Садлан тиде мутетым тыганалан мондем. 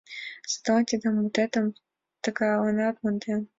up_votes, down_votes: 3, 2